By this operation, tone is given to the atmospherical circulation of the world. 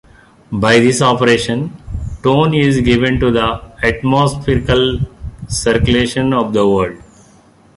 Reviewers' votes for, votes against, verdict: 2, 0, accepted